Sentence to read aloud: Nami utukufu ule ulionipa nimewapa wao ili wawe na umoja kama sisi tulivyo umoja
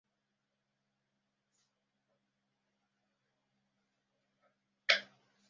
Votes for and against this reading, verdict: 0, 2, rejected